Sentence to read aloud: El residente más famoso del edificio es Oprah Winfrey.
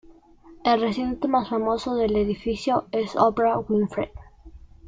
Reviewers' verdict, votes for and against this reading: rejected, 2, 3